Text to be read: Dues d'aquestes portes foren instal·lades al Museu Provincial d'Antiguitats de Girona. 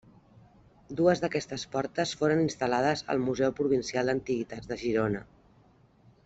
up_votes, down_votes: 2, 0